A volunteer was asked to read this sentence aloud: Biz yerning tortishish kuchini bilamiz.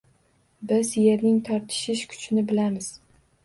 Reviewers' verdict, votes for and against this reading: accepted, 2, 1